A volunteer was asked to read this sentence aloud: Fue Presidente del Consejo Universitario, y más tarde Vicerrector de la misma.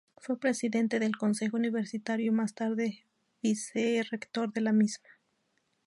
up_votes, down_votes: 2, 0